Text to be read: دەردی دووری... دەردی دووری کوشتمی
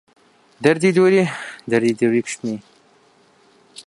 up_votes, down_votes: 2, 0